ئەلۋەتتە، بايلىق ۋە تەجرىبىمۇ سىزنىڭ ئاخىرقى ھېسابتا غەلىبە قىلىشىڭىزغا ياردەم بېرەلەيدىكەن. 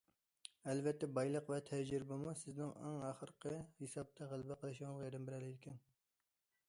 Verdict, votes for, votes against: rejected, 0, 2